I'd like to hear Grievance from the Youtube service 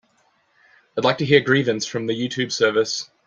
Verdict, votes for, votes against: accepted, 2, 0